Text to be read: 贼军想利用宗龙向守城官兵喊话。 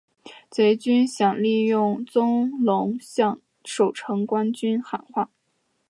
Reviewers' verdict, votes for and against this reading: rejected, 0, 3